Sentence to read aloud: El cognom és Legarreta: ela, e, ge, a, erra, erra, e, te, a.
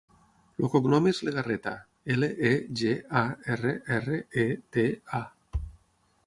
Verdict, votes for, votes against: rejected, 0, 6